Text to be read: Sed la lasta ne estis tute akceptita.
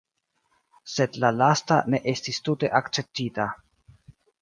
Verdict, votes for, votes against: rejected, 1, 2